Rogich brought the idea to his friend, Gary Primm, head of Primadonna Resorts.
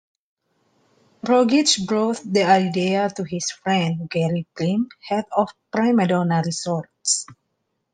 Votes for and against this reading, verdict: 2, 0, accepted